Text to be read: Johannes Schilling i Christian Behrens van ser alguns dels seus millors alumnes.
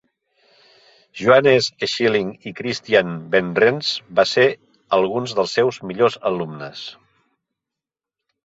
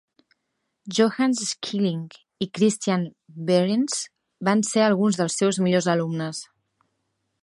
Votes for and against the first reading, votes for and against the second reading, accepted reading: 1, 2, 3, 0, second